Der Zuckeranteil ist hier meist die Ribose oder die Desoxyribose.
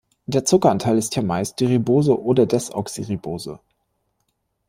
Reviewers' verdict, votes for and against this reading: rejected, 0, 2